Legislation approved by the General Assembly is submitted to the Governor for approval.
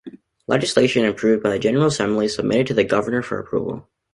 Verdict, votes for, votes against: accepted, 2, 0